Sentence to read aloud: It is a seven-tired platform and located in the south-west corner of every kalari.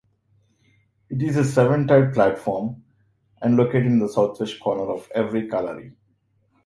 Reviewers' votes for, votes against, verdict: 1, 2, rejected